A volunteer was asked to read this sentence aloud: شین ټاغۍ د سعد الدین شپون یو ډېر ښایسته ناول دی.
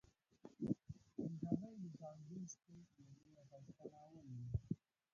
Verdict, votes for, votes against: rejected, 0, 2